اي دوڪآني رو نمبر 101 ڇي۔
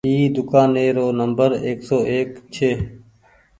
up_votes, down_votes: 0, 2